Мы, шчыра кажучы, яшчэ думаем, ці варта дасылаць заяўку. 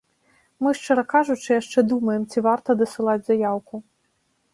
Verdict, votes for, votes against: rejected, 1, 2